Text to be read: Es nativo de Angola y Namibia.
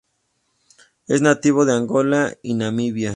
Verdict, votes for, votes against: accepted, 2, 0